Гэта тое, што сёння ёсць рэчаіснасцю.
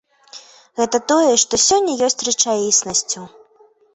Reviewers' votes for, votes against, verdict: 2, 0, accepted